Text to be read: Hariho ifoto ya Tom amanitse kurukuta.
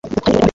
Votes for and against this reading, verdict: 1, 2, rejected